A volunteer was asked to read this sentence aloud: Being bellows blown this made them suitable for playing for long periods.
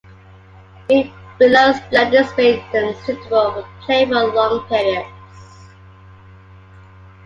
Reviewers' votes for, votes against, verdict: 0, 2, rejected